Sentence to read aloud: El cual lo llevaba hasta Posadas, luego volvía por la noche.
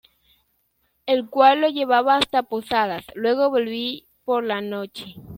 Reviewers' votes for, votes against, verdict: 1, 2, rejected